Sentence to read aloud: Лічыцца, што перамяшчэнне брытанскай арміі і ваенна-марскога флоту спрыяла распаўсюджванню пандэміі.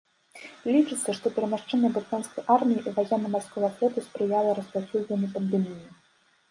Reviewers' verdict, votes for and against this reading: accepted, 2, 1